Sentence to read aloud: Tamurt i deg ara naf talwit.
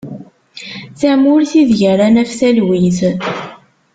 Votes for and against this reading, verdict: 2, 0, accepted